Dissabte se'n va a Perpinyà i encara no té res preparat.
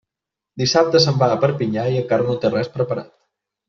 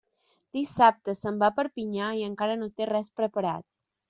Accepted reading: second